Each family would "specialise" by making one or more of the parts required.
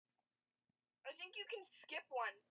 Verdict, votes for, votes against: rejected, 0, 2